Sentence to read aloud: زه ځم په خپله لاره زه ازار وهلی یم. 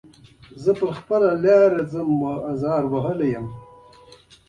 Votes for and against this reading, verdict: 2, 0, accepted